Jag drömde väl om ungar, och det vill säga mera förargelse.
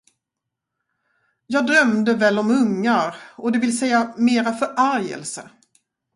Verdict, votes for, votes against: rejected, 2, 2